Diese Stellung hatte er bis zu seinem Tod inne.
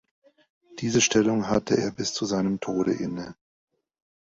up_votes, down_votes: 0, 3